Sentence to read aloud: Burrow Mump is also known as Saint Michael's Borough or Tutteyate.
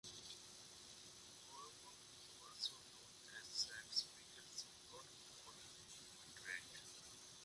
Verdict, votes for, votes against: rejected, 0, 2